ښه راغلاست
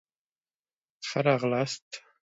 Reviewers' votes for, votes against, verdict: 2, 0, accepted